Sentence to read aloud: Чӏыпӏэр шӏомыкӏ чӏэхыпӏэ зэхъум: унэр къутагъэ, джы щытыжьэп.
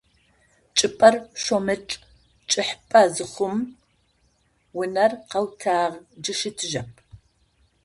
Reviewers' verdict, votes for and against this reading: rejected, 0, 2